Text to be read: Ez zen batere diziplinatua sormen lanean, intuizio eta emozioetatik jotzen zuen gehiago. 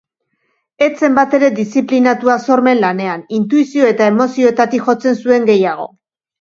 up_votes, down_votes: 2, 0